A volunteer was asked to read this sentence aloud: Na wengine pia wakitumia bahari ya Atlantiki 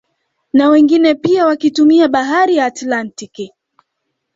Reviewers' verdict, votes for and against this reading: accepted, 2, 1